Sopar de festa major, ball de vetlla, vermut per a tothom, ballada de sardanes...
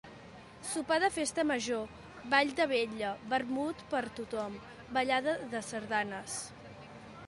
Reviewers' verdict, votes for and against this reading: rejected, 0, 2